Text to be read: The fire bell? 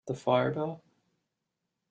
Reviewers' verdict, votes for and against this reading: accepted, 2, 1